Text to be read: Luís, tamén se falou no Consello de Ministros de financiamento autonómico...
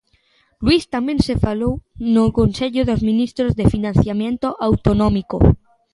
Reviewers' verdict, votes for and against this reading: rejected, 1, 2